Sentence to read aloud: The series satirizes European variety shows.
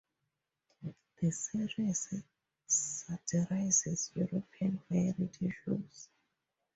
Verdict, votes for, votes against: rejected, 0, 2